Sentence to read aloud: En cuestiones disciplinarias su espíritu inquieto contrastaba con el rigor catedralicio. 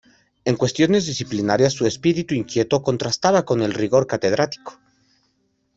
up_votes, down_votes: 0, 2